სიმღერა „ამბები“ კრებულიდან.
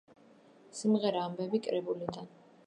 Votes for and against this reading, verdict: 3, 0, accepted